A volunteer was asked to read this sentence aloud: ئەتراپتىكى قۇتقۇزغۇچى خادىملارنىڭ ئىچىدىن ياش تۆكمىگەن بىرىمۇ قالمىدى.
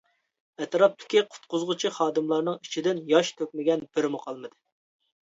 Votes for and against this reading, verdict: 2, 0, accepted